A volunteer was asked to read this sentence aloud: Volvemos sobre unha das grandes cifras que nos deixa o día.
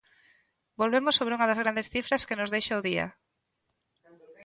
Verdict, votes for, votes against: rejected, 1, 2